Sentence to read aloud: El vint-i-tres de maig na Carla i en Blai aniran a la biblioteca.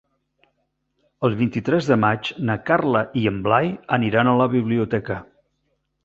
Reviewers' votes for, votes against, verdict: 3, 0, accepted